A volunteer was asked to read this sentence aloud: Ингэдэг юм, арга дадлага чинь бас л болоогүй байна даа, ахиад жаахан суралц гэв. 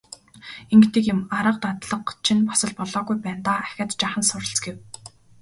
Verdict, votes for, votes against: rejected, 1, 2